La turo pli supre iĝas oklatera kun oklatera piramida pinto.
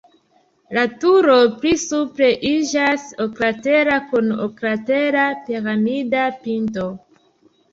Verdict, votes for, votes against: accepted, 2, 1